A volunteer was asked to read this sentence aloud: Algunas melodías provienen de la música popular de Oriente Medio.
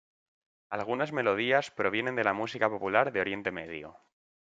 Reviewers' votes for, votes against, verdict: 2, 0, accepted